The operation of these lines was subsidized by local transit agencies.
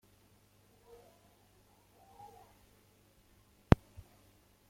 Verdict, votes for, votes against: rejected, 0, 2